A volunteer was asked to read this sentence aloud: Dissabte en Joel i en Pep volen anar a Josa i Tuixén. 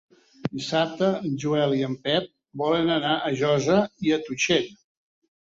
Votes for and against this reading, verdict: 2, 3, rejected